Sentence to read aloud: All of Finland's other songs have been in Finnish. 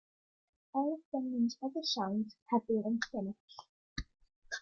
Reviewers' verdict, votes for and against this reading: rejected, 1, 2